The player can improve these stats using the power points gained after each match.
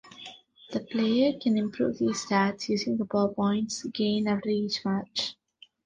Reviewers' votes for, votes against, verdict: 1, 2, rejected